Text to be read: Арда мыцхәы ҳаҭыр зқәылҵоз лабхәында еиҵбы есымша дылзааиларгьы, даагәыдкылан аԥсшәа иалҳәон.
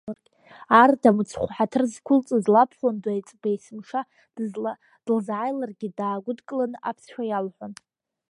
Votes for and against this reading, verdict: 2, 0, accepted